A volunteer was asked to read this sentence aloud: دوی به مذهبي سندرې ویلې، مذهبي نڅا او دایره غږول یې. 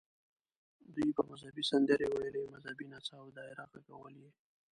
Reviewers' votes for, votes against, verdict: 0, 2, rejected